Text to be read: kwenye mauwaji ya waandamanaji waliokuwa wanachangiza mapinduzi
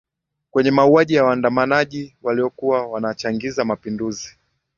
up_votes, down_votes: 2, 0